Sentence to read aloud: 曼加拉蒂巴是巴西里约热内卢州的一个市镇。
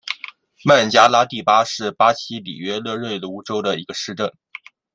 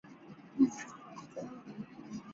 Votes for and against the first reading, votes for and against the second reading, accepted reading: 2, 0, 2, 8, first